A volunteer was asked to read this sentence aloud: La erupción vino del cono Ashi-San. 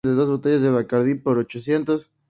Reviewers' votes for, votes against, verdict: 0, 2, rejected